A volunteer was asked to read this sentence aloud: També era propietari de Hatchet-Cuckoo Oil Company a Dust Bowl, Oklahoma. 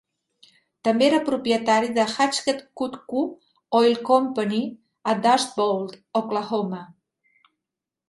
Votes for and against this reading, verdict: 2, 0, accepted